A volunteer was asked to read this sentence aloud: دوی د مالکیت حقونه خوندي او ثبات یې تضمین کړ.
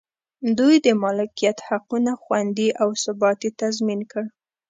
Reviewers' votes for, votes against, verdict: 2, 0, accepted